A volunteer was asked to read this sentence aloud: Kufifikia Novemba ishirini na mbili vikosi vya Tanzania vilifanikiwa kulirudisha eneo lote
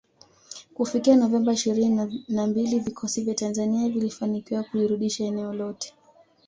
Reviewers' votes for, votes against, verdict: 2, 1, accepted